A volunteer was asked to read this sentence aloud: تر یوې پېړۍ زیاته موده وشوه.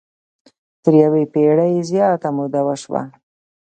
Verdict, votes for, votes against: accepted, 2, 0